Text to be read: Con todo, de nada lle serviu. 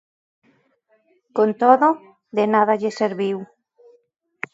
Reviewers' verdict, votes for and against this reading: accepted, 2, 0